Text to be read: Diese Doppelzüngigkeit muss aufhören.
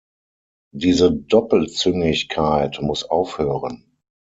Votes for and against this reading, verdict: 6, 0, accepted